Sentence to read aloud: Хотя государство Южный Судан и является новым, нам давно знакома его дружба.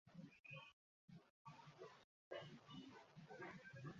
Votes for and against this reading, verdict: 0, 2, rejected